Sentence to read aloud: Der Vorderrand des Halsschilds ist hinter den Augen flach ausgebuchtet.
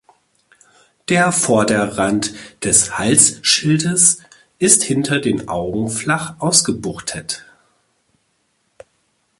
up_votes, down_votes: 1, 2